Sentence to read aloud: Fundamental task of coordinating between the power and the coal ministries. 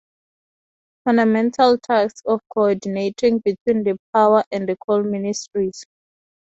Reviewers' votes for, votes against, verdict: 4, 0, accepted